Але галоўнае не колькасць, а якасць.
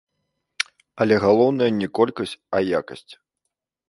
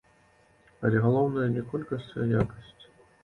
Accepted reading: second